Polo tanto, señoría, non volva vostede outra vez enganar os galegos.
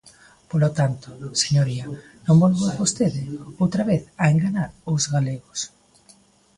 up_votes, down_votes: 1, 2